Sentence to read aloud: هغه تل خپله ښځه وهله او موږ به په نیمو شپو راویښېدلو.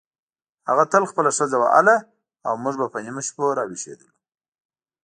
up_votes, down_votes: 2, 0